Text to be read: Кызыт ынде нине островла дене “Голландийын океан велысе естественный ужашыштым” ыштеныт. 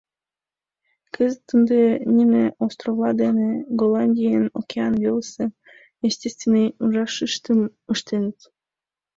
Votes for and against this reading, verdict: 2, 0, accepted